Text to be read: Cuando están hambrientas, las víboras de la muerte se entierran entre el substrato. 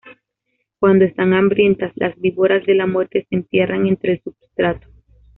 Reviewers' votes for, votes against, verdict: 2, 0, accepted